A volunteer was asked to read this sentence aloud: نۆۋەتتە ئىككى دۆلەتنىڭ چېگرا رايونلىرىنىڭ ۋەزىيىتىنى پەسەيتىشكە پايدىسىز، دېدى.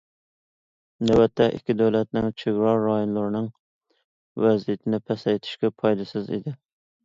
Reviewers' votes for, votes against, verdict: 0, 2, rejected